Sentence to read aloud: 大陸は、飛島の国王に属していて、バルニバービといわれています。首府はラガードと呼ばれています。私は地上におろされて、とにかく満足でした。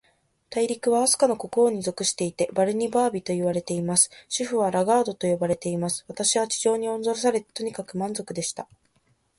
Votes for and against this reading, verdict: 2, 0, accepted